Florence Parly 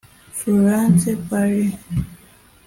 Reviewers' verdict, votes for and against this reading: rejected, 0, 2